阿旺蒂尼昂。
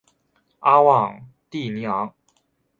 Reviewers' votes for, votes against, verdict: 2, 0, accepted